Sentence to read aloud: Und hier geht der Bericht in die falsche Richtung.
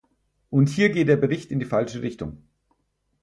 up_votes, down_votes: 4, 0